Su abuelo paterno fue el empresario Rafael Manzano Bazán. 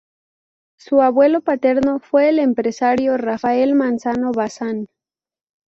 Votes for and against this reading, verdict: 0, 2, rejected